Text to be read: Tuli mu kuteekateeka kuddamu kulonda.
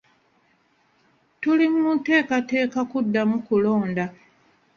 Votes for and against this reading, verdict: 2, 0, accepted